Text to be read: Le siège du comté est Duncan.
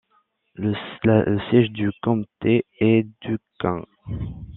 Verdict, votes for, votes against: rejected, 0, 2